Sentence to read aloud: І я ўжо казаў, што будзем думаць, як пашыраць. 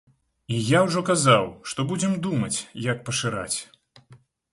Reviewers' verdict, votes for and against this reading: accepted, 2, 0